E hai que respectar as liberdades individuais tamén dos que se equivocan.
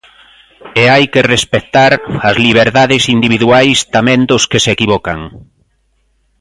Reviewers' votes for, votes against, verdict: 2, 0, accepted